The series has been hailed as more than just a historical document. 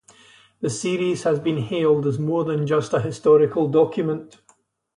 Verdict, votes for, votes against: accepted, 2, 0